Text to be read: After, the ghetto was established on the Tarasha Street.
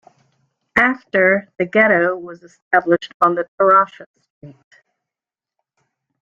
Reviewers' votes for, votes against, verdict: 1, 2, rejected